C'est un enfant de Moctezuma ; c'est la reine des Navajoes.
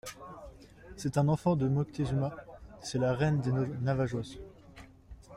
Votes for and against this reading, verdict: 1, 2, rejected